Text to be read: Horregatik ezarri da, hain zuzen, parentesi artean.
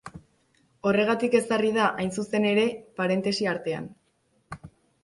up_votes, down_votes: 0, 2